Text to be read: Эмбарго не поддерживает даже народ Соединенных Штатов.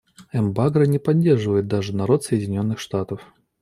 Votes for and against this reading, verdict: 0, 2, rejected